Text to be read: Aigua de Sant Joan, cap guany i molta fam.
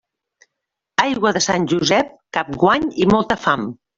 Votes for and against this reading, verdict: 0, 2, rejected